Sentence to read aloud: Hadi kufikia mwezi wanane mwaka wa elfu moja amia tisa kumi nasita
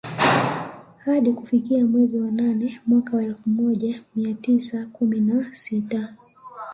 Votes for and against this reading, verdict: 2, 0, accepted